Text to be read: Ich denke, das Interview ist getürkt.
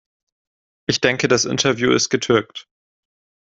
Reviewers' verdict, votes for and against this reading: accepted, 2, 0